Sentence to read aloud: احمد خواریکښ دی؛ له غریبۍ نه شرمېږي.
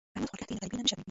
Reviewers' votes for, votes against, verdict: 1, 2, rejected